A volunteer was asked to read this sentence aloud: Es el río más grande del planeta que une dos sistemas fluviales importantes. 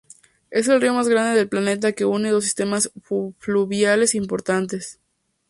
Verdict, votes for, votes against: rejected, 0, 2